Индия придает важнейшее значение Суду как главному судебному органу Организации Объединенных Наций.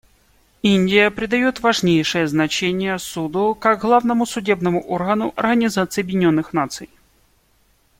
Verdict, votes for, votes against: accepted, 2, 0